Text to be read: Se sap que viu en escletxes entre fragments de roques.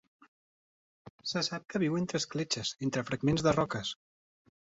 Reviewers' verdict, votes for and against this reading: rejected, 1, 2